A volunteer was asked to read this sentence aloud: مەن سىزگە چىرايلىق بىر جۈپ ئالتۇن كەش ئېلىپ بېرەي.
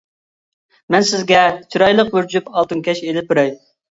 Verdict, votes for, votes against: accepted, 2, 0